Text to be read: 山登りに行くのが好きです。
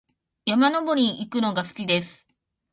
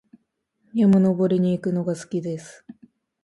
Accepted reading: second